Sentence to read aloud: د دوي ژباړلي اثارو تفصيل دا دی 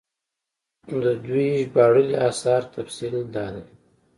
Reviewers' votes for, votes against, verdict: 2, 0, accepted